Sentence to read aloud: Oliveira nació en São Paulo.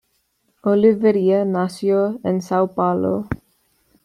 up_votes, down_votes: 1, 2